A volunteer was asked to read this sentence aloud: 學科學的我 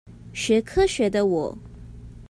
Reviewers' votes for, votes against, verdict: 2, 0, accepted